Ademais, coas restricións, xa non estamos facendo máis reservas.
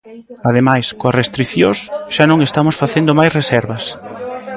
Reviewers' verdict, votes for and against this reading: rejected, 0, 2